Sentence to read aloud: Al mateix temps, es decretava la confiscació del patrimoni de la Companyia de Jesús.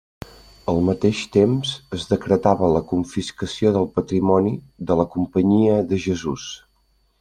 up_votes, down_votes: 3, 0